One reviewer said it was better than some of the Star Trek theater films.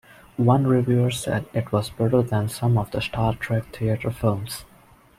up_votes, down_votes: 2, 0